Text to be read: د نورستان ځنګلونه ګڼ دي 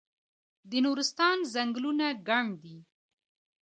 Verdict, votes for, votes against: accepted, 3, 1